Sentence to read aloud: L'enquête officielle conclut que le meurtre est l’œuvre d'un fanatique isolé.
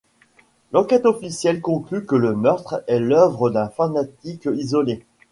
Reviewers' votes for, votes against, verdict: 1, 2, rejected